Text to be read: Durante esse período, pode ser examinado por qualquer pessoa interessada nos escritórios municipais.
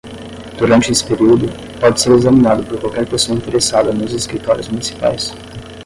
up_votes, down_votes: 5, 5